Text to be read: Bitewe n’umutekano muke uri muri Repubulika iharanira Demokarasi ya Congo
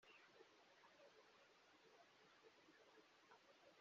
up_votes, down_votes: 0, 2